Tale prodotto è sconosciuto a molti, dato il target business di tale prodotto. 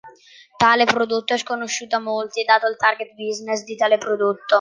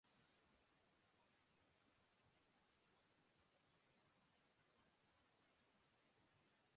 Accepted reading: first